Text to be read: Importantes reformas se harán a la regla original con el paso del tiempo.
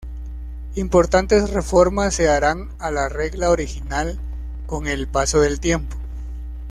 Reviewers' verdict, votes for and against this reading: accepted, 2, 0